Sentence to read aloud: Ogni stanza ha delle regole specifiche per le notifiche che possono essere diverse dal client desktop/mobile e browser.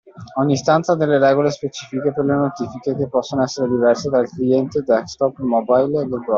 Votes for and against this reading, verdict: 0, 2, rejected